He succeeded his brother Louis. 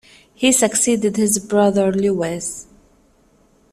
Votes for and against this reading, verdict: 2, 1, accepted